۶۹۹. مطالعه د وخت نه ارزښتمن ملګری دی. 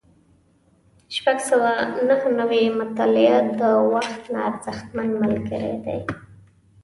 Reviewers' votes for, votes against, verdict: 0, 2, rejected